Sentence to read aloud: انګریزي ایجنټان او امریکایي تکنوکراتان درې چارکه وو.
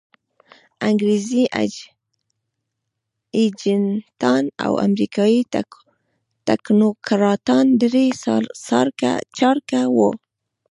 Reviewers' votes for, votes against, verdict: 1, 2, rejected